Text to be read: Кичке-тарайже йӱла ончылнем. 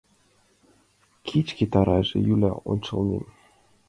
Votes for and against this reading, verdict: 1, 2, rejected